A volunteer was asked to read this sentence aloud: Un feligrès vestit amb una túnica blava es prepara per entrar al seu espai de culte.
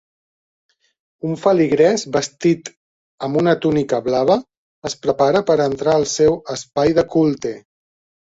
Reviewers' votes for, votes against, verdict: 2, 0, accepted